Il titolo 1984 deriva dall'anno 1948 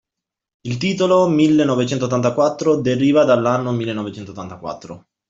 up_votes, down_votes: 0, 2